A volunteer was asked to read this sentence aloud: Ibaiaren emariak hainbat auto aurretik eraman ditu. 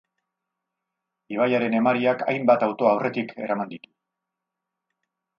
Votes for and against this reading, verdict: 0, 2, rejected